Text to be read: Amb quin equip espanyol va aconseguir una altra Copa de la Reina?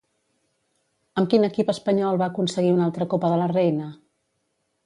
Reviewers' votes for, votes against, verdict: 0, 2, rejected